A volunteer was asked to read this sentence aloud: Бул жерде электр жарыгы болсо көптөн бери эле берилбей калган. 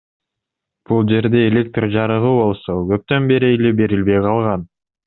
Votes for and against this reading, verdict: 2, 0, accepted